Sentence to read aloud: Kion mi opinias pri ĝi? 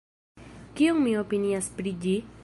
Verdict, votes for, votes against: rejected, 1, 2